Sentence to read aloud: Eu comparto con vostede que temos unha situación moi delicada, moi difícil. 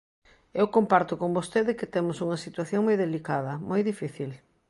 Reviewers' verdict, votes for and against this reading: accepted, 2, 0